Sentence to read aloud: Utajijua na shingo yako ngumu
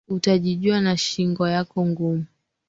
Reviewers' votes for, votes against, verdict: 2, 1, accepted